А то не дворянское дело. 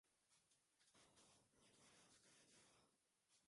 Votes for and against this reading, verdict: 0, 2, rejected